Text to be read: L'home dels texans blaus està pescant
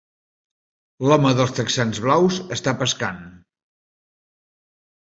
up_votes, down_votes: 3, 0